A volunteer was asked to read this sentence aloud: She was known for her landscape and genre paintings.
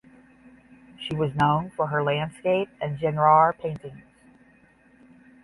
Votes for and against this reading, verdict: 5, 5, rejected